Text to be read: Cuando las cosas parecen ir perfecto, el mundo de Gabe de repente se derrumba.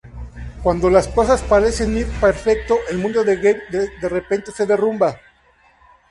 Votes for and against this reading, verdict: 2, 2, rejected